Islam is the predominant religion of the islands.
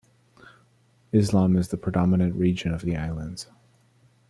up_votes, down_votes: 0, 2